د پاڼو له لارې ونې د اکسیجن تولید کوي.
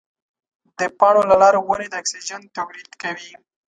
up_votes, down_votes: 2, 0